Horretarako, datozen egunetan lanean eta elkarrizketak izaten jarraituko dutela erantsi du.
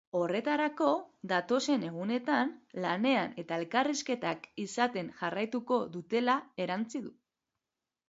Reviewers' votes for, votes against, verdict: 0, 2, rejected